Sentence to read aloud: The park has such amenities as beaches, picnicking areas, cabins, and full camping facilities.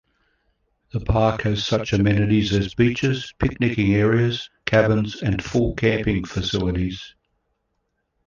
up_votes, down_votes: 2, 1